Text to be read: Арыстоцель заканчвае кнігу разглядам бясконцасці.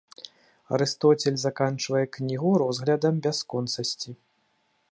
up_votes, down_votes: 1, 2